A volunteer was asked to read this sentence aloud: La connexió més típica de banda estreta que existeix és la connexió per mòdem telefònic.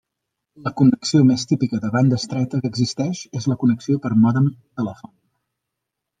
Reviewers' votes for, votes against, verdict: 2, 1, accepted